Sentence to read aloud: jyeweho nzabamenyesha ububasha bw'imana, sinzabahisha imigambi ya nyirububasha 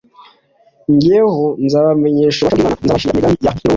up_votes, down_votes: 0, 2